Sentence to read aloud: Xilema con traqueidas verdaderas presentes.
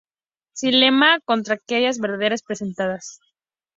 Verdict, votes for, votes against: accepted, 2, 0